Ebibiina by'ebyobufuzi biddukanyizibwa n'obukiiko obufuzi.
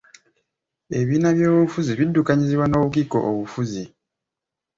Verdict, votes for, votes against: accepted, 2, 0